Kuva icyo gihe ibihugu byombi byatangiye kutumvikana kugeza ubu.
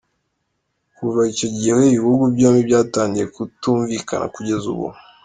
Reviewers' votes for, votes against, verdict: 2, 0, accepted